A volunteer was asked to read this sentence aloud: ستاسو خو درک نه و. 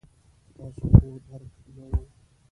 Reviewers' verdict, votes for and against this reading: rejected, 1, 2